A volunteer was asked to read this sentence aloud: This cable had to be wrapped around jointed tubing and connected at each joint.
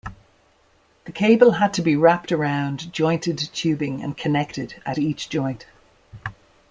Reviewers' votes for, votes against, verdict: 0, 2, rejected